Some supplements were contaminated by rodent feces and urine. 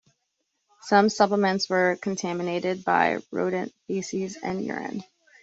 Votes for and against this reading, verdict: 2, 0, accepted